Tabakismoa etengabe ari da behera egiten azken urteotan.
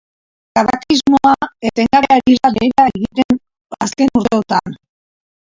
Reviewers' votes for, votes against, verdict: 0, 2, rejected